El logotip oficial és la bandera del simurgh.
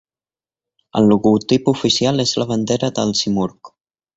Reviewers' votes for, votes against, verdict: 2, 0, accepted